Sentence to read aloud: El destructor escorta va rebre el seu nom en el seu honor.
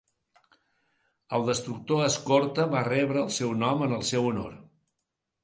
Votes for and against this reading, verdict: 2, 0, accepted